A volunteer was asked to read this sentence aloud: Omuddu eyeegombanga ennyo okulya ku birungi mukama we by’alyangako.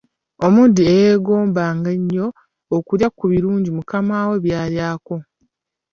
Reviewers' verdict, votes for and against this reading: rejected, 1, 2